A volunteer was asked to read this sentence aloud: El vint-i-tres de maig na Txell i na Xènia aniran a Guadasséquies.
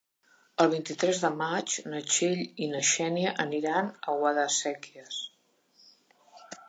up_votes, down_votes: 3, 1